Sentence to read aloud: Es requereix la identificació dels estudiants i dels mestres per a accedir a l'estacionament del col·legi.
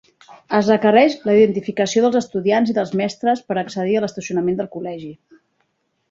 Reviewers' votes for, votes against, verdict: 2, 0, accepted